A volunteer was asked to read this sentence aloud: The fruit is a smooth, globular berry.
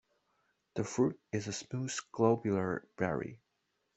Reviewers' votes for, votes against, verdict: 0, 2, rejected